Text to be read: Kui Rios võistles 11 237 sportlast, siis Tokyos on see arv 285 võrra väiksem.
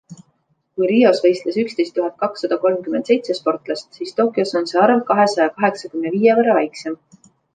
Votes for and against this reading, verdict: 0, 2, rejected